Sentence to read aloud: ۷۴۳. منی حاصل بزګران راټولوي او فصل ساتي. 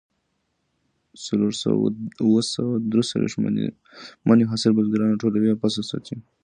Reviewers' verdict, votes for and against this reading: rejected, 0, 2